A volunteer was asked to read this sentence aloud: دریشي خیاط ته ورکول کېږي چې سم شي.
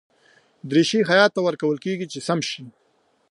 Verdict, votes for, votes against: accepted, 2, 1